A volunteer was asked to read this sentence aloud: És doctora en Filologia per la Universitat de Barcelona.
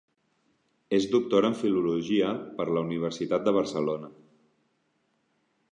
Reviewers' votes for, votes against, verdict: 2, 0, accepted